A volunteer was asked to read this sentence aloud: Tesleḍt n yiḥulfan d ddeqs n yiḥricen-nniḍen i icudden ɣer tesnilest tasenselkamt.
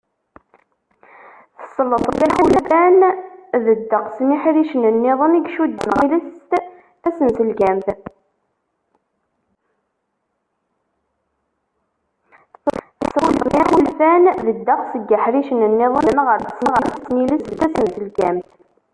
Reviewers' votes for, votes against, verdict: 0, 2, rejected